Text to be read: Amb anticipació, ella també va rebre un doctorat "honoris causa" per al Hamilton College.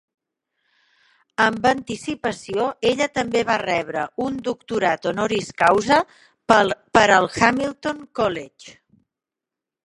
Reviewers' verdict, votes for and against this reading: rejected, 1, 3